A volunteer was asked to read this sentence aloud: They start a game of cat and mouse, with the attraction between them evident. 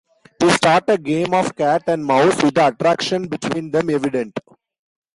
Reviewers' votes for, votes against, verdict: 1, 2, rejected